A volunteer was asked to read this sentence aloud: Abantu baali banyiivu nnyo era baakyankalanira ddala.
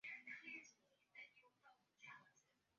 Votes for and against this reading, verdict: 1, 2, rejected